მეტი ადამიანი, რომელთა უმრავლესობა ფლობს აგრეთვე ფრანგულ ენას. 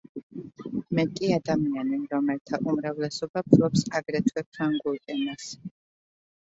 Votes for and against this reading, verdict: 2, 0, accepted